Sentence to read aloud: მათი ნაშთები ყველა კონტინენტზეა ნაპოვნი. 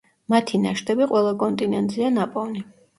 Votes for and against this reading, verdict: 2, 0, accepted